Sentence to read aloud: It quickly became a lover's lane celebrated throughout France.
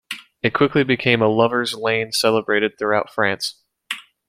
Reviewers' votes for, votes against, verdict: 2, 0, accepted